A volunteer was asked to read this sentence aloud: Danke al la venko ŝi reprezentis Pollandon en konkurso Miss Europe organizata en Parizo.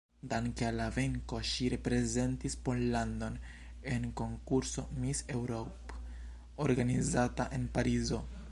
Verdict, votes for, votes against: rejected, 0, 2